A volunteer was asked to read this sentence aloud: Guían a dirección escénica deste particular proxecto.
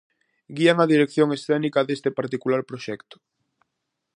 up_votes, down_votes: 4, 0